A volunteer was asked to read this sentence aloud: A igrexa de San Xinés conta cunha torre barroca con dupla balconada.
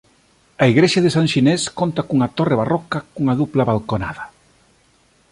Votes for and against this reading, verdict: 0, 2, rejected